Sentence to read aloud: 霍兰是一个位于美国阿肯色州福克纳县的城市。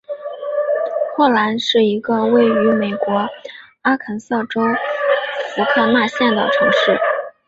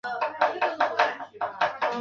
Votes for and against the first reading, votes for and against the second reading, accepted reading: 3, 0, 0, 6, first